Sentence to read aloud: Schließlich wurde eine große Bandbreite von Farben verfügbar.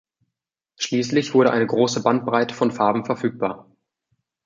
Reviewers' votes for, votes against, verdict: 2, 0, accepted